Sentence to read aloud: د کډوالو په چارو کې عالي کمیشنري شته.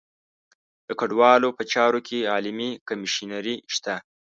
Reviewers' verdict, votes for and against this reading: rejected, 1, 2